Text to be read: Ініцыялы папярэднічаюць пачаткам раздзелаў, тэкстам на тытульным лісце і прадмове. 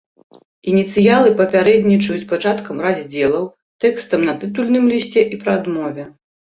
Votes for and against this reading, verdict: 2, 0, accepted